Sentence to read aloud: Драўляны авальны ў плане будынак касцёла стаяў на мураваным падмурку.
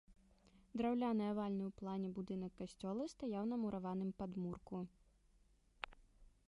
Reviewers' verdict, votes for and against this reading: rejected, 1, 2